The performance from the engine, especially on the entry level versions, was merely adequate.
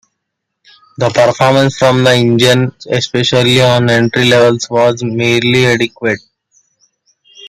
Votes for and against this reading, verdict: 0, 2, rejected